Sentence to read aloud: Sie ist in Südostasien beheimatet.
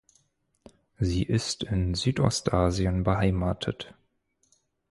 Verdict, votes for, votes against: accepted, 4, 0